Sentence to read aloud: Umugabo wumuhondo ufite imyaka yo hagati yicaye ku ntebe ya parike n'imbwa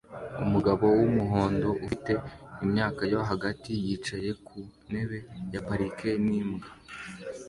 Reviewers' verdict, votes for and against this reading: accepted, 2, 0